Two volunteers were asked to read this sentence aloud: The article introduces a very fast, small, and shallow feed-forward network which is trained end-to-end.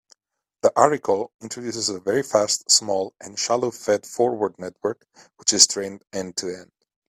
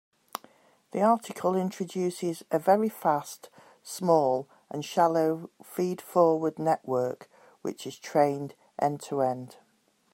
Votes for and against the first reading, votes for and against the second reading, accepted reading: 1, 2, 2, 0, second